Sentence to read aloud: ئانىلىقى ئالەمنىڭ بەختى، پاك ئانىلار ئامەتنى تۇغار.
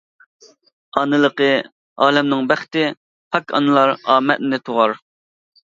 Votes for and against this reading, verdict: 2, 0, accepted